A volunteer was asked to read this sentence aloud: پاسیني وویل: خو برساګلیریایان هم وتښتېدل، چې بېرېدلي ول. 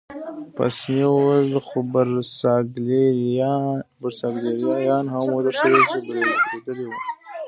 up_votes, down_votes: 0, 2